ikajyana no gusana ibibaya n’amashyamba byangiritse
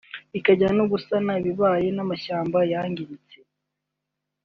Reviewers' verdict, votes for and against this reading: rejected, 0, 2